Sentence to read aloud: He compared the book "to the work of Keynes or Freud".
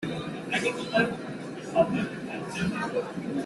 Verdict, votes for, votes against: rejected, 0, 2